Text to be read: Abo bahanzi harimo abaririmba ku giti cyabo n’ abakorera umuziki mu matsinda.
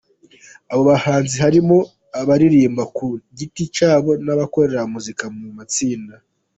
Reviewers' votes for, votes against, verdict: 2, 1, accepted